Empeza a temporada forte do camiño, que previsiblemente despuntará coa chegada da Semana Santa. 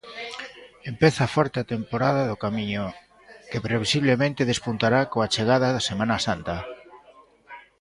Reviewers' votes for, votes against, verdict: 1, 2, rejected